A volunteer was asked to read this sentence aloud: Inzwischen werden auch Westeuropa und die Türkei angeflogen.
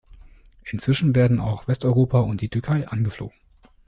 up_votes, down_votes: 2, 0